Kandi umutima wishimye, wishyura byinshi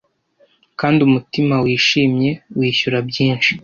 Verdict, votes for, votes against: accepted, 2, 0